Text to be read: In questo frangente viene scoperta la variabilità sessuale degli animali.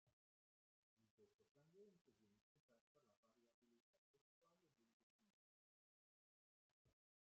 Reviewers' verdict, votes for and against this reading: rejected, 0, 2